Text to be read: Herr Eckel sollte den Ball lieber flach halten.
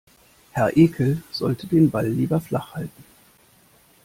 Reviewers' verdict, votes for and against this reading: rejected, 1, 2